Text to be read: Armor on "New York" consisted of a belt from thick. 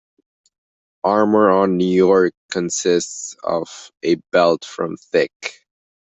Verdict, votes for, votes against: rejected, 1, 2